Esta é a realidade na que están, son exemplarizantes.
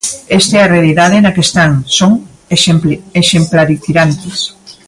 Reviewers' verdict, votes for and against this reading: rejected, 1, 2